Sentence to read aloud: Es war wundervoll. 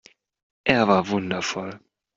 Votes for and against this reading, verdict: 1, 2, rejected